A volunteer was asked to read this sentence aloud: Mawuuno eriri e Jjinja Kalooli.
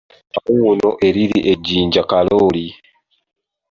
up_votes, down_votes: 2, 1